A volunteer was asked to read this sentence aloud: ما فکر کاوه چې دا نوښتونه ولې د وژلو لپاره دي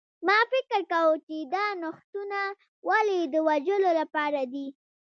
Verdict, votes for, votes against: accepted, 2, 0